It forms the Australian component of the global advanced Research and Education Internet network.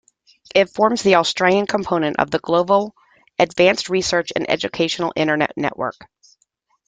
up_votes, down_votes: 0, 2